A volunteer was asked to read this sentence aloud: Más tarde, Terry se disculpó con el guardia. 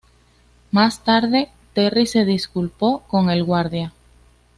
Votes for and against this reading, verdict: 2, 0, accepted